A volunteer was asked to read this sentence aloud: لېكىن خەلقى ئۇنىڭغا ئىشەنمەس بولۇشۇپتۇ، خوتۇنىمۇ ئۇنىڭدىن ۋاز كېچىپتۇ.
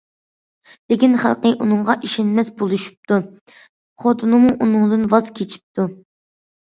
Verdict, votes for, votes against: accepted, 2, 0